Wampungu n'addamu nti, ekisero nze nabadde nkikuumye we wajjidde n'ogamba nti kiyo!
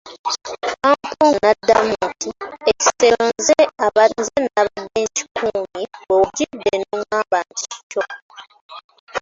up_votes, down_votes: 0, 2